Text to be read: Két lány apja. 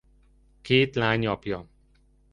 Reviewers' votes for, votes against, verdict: 2, 0, accepted